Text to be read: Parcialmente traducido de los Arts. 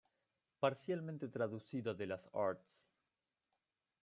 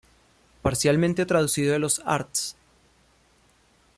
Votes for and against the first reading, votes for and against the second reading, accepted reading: 0, 2, 2, 0, second